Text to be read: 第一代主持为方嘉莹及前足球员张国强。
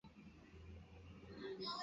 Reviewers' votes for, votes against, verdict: 0, 2, rejected